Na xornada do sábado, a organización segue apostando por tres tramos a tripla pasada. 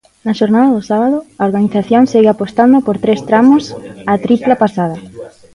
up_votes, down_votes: 0, 2